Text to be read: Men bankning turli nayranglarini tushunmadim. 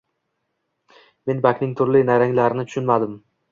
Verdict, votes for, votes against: accepted, 2, 0